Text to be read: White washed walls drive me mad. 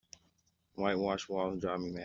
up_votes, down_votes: 1, 2